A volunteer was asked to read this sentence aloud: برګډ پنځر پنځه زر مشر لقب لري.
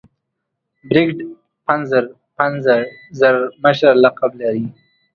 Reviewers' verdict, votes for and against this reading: rejected, 0, 2